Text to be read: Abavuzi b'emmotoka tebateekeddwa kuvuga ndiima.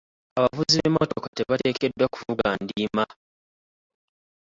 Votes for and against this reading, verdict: 2, 0, accepted